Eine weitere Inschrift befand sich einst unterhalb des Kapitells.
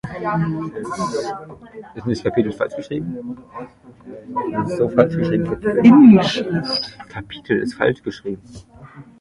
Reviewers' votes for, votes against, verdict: 0, 2, rejected